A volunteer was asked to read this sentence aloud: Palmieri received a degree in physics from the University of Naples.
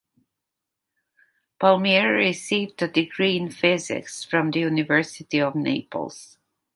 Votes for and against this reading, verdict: 2, 1, accepted